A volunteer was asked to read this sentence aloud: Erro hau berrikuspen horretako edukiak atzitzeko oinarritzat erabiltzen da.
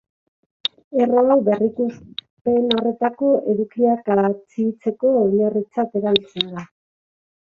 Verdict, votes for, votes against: rejected, 1, 3